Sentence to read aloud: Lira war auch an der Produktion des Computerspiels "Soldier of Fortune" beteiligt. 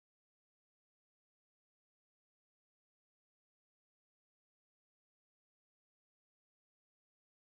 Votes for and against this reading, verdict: 0, 4, rejected